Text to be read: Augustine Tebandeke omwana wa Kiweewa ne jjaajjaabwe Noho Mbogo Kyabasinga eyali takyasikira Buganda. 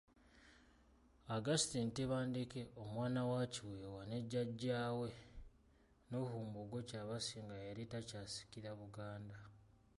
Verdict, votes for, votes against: accepted, 2, 1